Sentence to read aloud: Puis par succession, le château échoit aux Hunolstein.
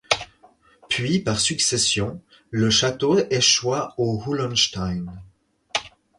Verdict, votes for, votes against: rejected, 0, 4